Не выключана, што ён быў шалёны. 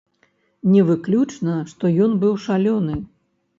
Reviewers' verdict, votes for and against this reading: accepted, 2, 0